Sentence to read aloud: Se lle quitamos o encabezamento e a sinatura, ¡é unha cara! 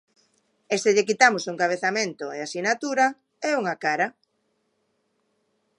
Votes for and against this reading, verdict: 0, 2, rejected